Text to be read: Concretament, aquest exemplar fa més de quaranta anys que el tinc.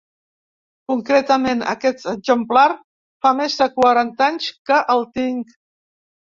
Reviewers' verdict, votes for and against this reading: accepted, 4, 1